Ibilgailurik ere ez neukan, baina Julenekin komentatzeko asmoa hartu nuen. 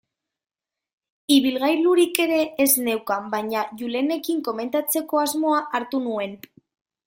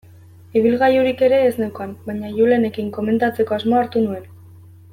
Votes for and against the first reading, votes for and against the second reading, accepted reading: 1, 2, 2, 0, second